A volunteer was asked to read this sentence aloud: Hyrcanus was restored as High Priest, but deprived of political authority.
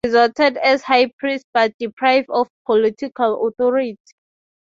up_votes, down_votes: 3, 3